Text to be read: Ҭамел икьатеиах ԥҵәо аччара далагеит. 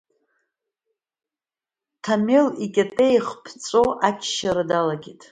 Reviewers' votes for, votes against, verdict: 2, 0, accepted